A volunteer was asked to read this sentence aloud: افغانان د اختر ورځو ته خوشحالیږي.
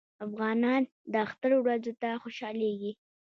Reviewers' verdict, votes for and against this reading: rejected, 1, 2